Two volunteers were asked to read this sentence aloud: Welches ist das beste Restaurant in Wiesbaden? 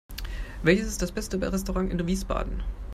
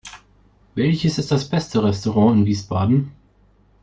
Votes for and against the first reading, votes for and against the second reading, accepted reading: 0, 2, 2, 0, second